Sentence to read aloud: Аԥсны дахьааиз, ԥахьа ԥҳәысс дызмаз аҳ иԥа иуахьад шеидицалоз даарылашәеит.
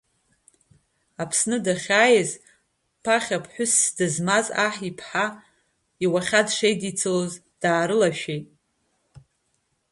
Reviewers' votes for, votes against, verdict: 1, 2, rejected